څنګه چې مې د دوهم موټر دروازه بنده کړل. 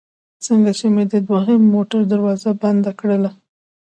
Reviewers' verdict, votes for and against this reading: rejected, 0, 2